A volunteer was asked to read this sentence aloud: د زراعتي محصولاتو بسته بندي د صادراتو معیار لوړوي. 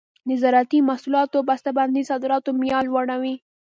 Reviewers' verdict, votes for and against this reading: accepted, 2, 0